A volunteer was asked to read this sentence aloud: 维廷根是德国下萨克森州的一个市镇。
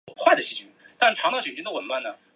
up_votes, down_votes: 0, 2